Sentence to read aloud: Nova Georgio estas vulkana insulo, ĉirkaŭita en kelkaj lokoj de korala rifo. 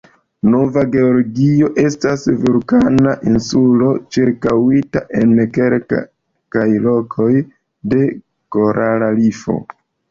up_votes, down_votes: 1, 2